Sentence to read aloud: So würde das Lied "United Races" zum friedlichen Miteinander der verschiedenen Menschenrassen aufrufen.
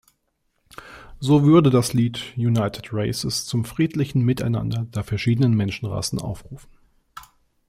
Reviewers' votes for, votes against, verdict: 2, 0, accepted